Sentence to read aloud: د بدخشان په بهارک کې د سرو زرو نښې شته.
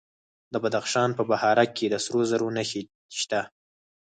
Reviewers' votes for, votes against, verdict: 2, 4, rejected